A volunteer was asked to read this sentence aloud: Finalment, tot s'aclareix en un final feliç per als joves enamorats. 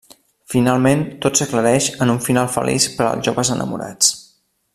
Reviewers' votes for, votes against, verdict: 1, 2, rejected